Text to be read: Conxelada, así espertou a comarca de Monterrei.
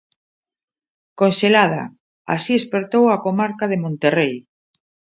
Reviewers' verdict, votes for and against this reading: accepted, 2, 0